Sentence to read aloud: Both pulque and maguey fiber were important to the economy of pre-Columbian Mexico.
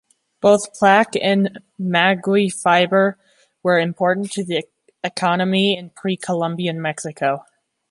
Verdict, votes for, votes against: rejected, 0, 2